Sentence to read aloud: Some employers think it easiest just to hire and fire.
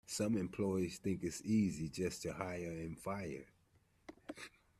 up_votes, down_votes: 1, 2